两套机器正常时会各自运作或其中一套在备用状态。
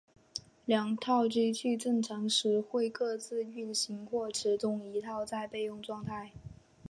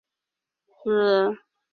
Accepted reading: first